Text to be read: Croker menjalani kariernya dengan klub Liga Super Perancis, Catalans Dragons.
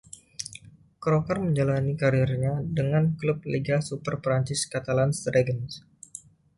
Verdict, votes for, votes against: accepted, 2, 0